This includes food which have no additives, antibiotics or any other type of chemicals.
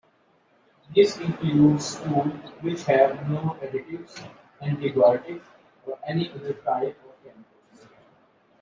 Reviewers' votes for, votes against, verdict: 1, 2, rejected